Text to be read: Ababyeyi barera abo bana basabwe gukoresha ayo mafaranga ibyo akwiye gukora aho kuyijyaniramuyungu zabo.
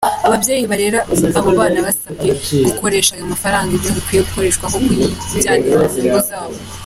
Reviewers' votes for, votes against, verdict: 2, 1, accepted